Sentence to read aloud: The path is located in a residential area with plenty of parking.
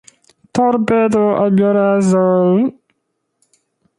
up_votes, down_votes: 0, 2